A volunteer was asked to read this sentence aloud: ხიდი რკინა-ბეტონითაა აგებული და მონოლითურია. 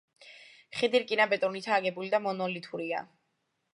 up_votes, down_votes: 0, 2